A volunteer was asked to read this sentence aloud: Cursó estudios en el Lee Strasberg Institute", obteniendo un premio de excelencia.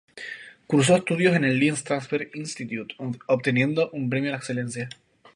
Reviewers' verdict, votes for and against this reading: accepted, 4, 0